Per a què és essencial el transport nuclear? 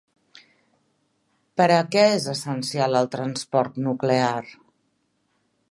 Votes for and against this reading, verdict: 3, 0, accepted